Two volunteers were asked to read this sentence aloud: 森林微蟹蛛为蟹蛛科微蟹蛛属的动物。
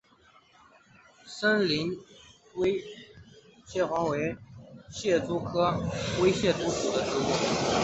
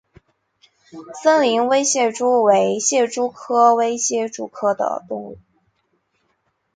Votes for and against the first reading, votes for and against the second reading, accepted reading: 2, 0, 0, 2, first